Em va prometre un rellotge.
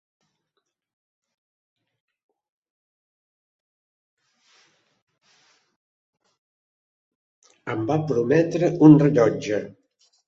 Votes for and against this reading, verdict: 2, 3, rejected